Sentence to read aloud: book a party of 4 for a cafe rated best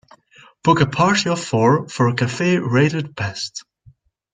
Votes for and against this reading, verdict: 0, 2, rejected